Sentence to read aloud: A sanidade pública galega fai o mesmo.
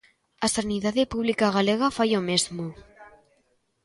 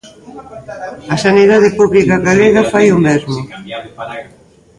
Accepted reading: first